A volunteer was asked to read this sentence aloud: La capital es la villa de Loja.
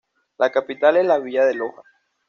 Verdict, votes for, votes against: accepted, 2, 0